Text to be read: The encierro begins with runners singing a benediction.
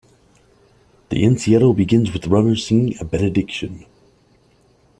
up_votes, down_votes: 1, 2